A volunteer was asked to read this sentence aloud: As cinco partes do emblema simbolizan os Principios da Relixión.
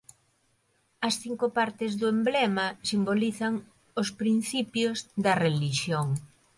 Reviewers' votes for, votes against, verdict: 2, 0, accepted